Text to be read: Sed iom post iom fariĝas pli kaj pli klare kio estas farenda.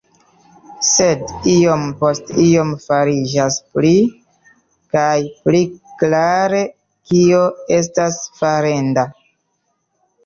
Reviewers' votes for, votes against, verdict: 2, 1, accepted